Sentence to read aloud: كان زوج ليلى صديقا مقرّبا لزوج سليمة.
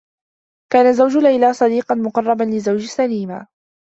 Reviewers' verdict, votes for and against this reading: accepted, 2, 0